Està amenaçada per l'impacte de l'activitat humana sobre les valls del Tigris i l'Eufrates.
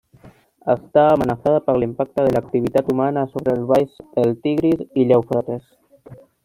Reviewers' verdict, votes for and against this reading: rejected, 1, 2